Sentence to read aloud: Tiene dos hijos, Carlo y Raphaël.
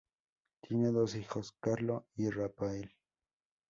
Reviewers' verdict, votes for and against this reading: accepted, 2, 0